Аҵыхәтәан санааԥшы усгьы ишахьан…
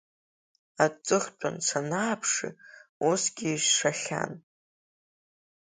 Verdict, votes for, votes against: accepted, 4, 2